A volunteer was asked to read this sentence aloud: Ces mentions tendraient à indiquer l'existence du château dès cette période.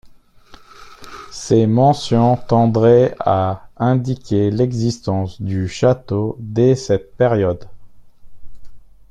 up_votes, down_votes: 1, 2